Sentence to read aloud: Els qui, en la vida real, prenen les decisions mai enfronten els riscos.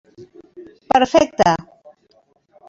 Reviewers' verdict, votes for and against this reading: rejected, 0, 2